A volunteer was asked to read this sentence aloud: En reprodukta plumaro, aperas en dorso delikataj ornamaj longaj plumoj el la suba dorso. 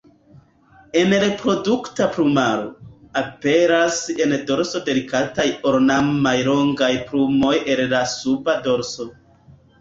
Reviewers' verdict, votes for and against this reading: rejected, 0, 2